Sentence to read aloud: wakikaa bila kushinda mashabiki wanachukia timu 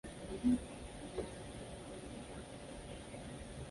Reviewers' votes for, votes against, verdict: 0, 2, rejected